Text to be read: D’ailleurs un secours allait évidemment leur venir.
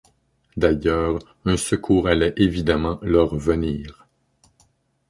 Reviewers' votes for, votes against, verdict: 2, 0, accepted